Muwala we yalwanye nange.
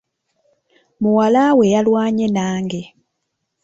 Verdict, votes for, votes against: rejected, 1, 2